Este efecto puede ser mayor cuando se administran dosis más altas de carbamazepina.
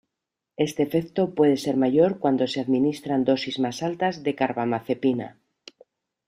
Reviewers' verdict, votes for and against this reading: accepted, 2, 0